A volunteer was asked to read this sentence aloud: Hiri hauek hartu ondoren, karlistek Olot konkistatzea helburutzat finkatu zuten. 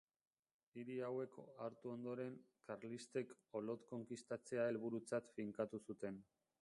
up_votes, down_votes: 0, 2